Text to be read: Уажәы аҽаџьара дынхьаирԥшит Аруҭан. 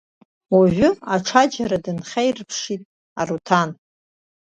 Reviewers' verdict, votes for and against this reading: rejected, 0, 2